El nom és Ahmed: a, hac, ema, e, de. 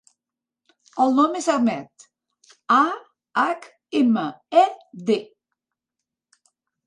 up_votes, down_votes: 3, 0